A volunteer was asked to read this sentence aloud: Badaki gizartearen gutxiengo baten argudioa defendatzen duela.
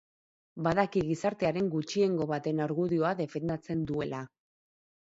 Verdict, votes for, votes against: accepted, 4, 0